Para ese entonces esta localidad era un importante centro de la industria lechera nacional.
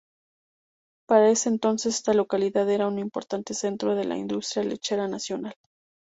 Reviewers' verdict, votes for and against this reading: rejected, 0, 2